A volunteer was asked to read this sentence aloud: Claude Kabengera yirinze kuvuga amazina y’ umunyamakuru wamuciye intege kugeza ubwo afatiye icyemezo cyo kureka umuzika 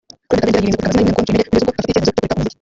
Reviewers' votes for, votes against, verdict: 0, 2, rejected